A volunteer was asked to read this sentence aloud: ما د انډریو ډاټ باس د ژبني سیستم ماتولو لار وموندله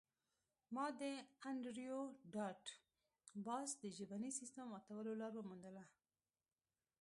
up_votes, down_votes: 0, 2